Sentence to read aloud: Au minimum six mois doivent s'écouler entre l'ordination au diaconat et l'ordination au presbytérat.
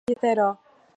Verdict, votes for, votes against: rejected, 0, 2